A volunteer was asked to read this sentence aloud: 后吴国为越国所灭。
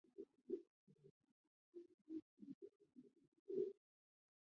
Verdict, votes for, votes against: rejected, 0, 2